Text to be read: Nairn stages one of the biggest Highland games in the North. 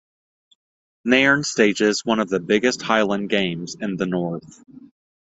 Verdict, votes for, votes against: accepted, 2, 0